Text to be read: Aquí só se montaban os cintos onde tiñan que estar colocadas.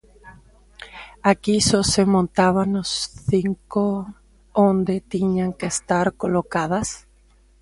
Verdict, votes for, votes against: rejected, 0, 2